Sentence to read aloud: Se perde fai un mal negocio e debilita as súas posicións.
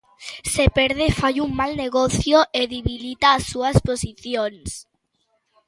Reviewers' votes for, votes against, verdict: 1, 2, rejected